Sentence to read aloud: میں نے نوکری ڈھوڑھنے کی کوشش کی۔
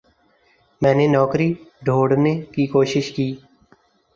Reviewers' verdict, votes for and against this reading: accepted, 2, 1